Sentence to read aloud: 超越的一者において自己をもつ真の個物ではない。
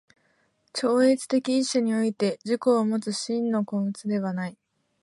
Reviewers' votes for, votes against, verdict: 2, 0, accepted